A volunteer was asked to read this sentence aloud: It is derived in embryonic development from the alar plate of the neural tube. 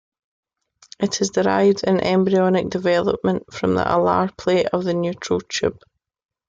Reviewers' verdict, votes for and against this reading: rejected, 1, 2